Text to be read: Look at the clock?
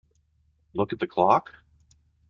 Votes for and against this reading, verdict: 2, 0, accepted